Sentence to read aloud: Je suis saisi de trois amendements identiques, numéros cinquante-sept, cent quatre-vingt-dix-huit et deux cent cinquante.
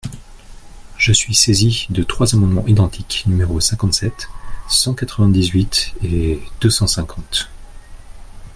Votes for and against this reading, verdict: 2, 0, accepted